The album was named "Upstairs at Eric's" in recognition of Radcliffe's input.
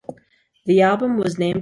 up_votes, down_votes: 1, 2